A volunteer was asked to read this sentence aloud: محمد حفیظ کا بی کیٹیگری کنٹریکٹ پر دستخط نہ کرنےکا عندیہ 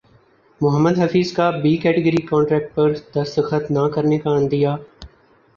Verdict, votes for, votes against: accepted, 3, 2